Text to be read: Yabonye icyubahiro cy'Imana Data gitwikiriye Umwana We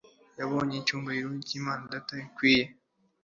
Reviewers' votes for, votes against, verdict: 0, 2, rejected